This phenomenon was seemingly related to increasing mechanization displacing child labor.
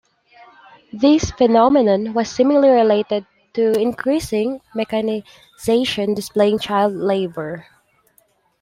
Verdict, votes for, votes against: rejected, 0, 2